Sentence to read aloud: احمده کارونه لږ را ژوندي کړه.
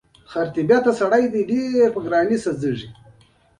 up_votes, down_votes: 2, 1